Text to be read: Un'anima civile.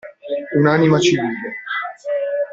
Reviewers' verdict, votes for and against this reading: rejected, 0, 2